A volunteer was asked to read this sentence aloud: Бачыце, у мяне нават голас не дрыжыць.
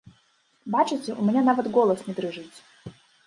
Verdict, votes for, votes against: rejected, 0, 2